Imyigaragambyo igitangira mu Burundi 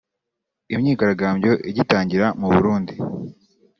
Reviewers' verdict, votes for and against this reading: rejected, 1, 2